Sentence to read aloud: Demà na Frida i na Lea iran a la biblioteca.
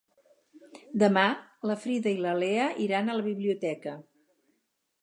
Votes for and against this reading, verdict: 0, 4, rejected